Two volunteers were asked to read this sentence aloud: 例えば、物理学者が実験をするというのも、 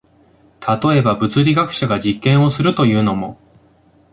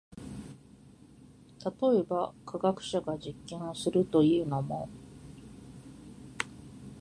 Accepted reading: first